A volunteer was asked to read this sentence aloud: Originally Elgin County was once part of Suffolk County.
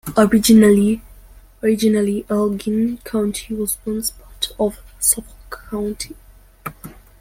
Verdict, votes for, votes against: rejected, 0, 2